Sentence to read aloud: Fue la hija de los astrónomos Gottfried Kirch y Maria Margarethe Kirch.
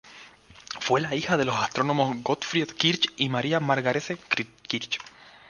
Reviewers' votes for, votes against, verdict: 2, 2, rejected